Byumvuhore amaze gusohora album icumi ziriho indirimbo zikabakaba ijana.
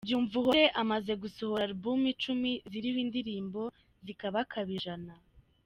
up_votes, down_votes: 2, 0